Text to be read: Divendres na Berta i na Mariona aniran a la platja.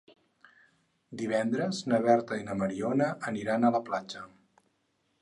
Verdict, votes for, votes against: accepted, 6, 0